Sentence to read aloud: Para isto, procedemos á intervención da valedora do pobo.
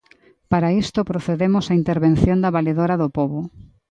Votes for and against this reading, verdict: 2, 0, accepted